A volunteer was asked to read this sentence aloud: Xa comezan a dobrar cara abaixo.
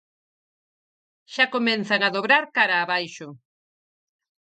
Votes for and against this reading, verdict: 0, 4, rejected